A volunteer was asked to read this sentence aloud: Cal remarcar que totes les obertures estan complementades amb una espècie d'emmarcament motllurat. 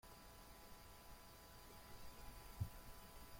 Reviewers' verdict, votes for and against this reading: rejected, 0, 2